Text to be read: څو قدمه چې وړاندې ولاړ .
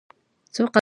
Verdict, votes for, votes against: rejected, 1, 2